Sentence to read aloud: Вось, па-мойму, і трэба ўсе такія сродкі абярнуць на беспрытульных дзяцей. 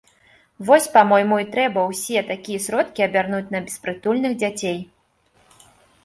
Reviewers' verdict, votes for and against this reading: accepted, 2, 0